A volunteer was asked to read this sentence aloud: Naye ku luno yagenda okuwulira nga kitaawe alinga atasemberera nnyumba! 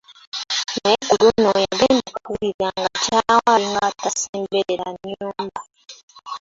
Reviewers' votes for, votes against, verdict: 0, 2, rejected